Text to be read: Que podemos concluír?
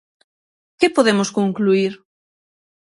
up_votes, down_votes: 6, 0